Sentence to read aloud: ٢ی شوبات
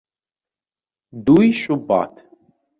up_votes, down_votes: 0, 2